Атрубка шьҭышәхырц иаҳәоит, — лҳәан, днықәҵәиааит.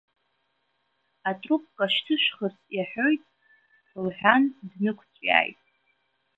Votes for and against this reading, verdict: 1, 2, rejected